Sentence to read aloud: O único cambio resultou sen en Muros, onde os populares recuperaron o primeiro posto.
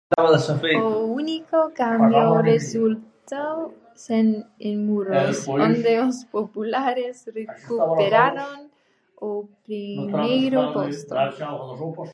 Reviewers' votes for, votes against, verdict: 0, 2, rejected